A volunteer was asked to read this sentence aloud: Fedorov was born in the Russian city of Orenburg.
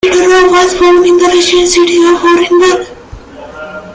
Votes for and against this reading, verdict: 0, 2, rejected